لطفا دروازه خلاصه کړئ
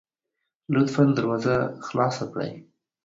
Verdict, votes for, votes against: accepted, 2, 0